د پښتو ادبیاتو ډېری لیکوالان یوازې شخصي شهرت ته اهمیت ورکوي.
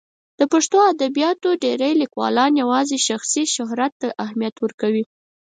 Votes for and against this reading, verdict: 4, 0, accepted